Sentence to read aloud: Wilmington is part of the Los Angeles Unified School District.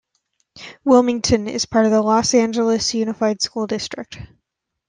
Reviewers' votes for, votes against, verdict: 2, 0, accepted